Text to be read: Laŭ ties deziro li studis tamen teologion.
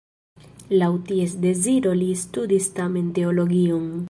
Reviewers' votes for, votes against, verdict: 2, 0, accepted